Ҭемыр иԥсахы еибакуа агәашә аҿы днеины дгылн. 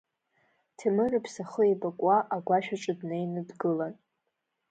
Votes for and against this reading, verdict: 1, 2, rejected